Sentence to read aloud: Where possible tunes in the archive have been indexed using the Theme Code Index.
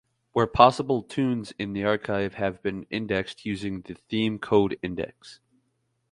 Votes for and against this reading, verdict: 2, 0, accepted